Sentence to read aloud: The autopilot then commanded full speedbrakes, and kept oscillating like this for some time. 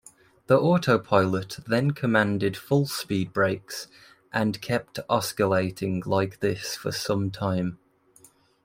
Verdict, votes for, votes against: rejected, 0, 2